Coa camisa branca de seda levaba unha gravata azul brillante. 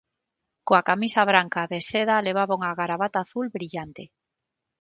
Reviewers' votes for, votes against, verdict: 0, 6, rejected